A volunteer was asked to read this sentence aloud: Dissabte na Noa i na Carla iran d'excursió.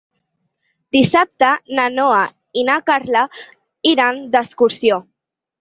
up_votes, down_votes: 6, 0